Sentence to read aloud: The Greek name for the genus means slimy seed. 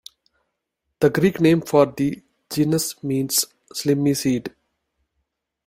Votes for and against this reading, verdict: 0, 2, rejected